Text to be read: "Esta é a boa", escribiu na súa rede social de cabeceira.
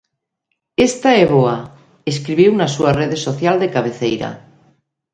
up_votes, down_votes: 1, 2